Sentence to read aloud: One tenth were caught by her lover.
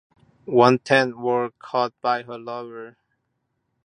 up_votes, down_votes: 2, 0